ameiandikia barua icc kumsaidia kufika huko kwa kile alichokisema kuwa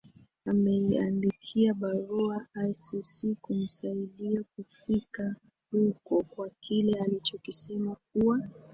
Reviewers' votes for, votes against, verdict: 1, 2, rejected